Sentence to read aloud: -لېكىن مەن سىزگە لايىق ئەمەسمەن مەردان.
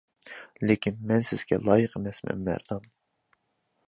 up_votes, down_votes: 2, 0